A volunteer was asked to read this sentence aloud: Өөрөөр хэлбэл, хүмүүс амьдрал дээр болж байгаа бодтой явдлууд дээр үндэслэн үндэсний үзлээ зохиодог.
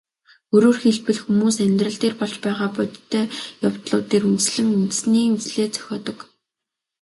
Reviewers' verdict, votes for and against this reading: rejected, 1, 2